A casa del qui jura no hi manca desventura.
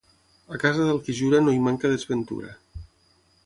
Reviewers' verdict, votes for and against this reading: accepted, 6, 0